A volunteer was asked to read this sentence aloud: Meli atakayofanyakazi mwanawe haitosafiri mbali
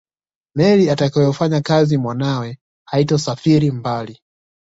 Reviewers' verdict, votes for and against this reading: accepted, 2, 0